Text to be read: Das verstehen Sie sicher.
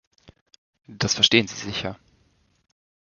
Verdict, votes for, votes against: accepted, 2, 0